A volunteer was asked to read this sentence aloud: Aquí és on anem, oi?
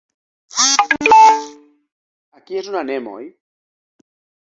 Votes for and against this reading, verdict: 0, 2, rejected